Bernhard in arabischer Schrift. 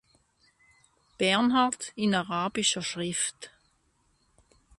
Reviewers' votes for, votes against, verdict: 2, 0, accepted